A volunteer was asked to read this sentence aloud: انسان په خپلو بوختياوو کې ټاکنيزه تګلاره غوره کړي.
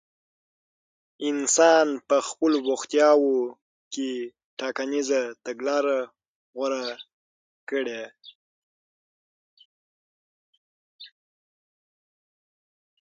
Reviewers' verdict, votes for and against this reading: accepted, 6, 0